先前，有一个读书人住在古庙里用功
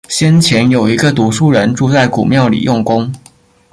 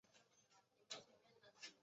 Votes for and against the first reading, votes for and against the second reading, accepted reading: 3, 0, 1, 3, first